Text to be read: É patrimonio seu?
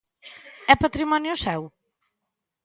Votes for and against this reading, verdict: 2, 0, accepted